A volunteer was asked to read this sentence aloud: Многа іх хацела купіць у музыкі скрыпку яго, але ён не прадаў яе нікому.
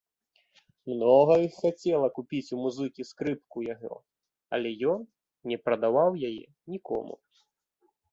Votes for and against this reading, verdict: 1, 3, rejected